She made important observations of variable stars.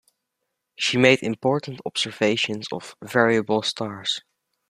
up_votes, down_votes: 2, 0